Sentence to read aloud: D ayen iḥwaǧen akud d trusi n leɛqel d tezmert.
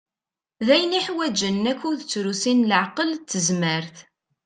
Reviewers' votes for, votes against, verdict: 2, 0, accepted